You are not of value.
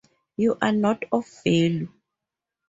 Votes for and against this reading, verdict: 2, 2, rejected